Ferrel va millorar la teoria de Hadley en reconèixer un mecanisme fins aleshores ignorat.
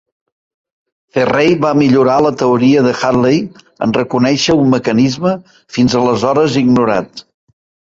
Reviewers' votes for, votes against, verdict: 3, 0, accepted